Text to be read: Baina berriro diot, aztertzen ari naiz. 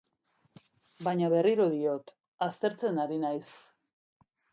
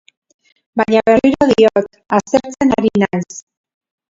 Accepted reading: first